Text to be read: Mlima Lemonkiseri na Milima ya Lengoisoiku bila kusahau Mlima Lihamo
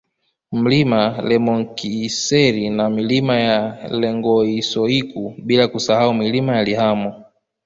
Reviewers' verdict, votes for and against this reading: accepted, 2, 0